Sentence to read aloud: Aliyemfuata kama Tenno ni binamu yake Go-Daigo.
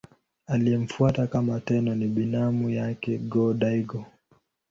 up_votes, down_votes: 6, 2